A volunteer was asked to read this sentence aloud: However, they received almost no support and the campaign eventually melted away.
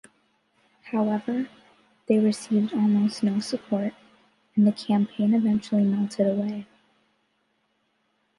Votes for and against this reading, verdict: 2, 0, accepted